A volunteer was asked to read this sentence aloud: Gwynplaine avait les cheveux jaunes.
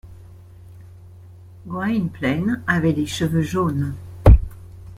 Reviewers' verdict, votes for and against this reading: accepted, 2, 0